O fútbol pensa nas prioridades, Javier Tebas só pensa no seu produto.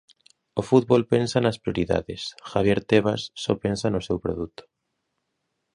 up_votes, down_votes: 2, 0